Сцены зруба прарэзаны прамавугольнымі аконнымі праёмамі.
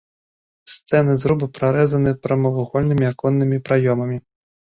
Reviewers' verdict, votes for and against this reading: rejected, 1, 2